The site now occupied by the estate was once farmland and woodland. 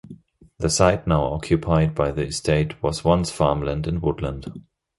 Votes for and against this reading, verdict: 2, 0, accepted